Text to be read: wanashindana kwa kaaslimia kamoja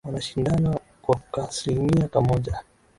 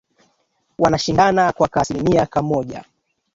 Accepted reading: first